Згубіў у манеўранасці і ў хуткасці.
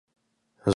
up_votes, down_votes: 0, 2